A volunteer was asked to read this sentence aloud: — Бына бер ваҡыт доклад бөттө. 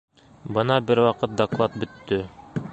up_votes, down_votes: 0, 2